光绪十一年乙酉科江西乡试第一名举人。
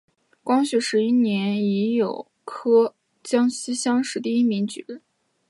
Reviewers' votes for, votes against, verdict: 2, 0, accepted